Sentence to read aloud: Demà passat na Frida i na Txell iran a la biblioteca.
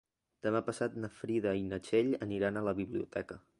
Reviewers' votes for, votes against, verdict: 0, 2, rejected